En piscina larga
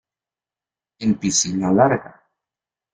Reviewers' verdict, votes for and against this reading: rejected, 1, 2